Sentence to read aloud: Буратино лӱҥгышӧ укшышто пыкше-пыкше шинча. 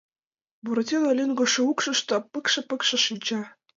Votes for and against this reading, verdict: 2, 0, accepted